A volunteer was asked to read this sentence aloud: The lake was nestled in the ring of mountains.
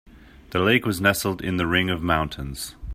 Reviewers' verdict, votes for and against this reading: accepted, 2, 0